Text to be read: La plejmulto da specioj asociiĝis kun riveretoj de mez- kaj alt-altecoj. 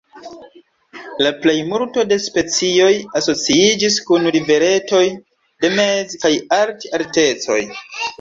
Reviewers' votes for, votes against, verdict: 2, 0, accepted